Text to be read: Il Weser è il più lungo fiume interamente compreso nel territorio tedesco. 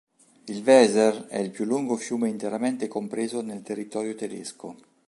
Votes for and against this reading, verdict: 3, 0, accepted